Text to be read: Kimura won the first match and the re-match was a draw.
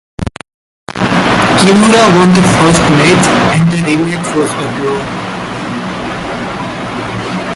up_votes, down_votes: 0, 2